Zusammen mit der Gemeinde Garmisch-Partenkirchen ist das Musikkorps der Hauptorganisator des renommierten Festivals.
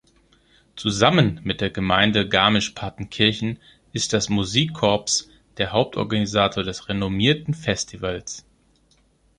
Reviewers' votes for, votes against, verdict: 1, 2, rejected